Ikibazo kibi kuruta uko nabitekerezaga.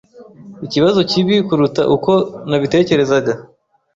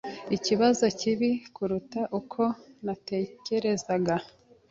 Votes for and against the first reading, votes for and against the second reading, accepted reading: 2, 0, 1, 2, first